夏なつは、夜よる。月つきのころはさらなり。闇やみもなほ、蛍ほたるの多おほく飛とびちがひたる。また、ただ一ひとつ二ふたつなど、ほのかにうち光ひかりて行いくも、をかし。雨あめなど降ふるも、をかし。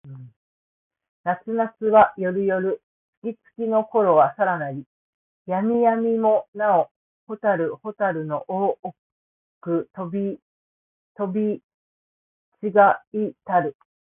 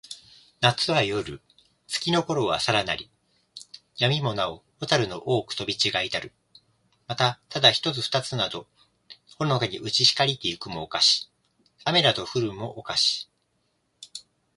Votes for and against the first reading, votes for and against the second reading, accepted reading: 0, 2, 3, 1, second